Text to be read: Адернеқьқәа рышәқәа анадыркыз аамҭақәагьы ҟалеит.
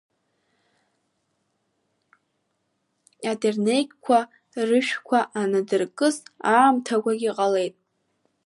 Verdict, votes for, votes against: rejected, 0, 2